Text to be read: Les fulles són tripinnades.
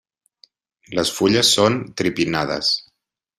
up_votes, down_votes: 2, 0